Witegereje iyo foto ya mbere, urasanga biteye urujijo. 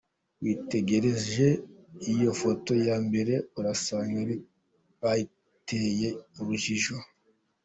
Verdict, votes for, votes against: rejected, 0, 2